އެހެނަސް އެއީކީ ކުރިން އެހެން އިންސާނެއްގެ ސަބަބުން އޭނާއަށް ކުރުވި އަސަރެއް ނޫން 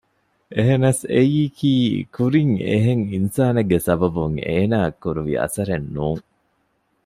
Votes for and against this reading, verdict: 2, 0, accepted